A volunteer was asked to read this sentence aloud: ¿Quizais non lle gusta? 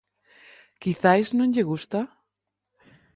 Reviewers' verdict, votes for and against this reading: accepted, 4, 0